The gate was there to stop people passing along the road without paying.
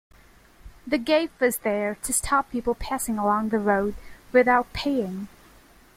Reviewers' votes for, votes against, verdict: 2, 0, accepted